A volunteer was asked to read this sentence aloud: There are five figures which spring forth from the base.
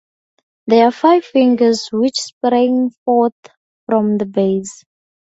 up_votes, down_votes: 2, 2